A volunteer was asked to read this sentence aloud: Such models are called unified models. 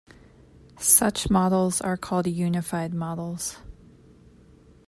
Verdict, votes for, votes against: accepted, 2, 0